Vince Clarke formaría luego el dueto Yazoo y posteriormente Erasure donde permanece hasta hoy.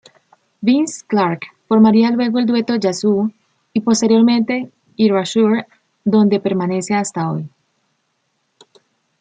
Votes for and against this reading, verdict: 2, 0, accepted